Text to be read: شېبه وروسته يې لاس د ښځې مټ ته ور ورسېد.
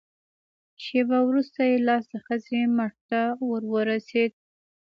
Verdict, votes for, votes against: accepted, 2, 0